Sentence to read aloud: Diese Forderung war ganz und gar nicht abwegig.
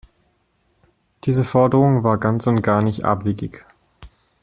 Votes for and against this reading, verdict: 2, 0, accepted